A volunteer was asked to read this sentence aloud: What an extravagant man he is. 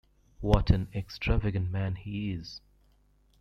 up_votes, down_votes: 2, 0